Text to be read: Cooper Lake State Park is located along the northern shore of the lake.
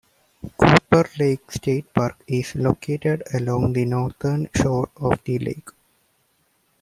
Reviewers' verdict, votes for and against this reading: accepted, 2, 0